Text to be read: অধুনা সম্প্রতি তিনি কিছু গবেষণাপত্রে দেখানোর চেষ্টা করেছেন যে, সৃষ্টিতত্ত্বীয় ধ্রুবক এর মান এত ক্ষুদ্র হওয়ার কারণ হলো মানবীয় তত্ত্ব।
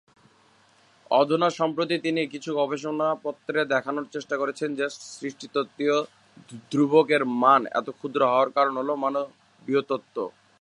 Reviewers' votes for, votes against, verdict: 0, 2, rejected